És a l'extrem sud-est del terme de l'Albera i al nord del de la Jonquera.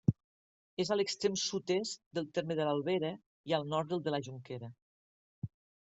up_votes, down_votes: 3, 0